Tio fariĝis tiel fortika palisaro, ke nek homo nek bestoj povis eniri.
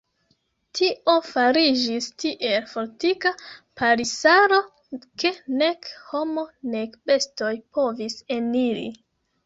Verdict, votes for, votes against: rejected, 1, 2